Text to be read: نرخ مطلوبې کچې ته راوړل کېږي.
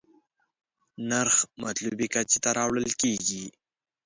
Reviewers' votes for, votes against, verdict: 2, 0, accepted